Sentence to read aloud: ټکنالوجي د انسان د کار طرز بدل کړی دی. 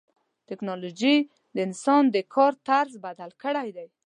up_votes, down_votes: 2, 0